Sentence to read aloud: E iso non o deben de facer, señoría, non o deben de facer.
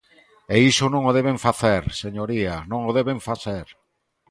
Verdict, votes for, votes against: rejected, 1, 4